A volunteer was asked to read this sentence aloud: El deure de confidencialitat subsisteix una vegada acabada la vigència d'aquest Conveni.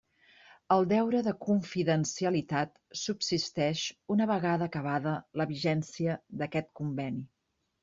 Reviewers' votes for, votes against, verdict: 3, 0, accepted